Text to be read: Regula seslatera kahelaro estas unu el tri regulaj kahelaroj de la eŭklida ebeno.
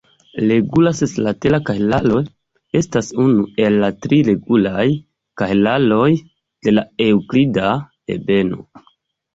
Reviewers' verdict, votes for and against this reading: rejected, 0, 2